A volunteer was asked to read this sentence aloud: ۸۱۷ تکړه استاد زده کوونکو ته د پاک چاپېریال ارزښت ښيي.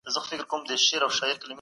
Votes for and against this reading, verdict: 0, 2, rejected